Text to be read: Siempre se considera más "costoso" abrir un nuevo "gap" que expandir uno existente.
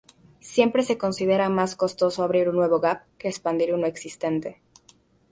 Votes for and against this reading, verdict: 0, 2, rejected